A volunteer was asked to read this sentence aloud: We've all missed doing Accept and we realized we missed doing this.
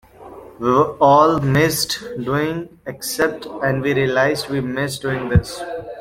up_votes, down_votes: 0, 2